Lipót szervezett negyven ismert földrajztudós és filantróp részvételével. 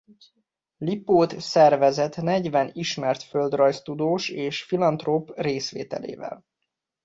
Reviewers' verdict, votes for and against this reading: accepted, 3, 0